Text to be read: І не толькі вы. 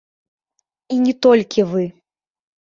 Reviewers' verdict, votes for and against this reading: accepted, 3, 2